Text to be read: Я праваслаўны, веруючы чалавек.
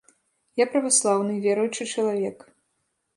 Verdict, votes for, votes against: accepted, 2, 0